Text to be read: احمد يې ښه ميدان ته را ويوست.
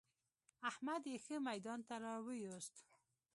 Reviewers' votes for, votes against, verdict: 2, 0, accepted